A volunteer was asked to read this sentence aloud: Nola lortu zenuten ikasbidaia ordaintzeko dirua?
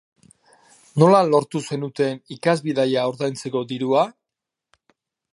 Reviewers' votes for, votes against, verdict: 2, 0, accepted